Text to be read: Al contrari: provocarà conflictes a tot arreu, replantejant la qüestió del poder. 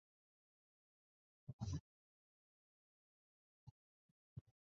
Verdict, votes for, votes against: rejected, 0, 3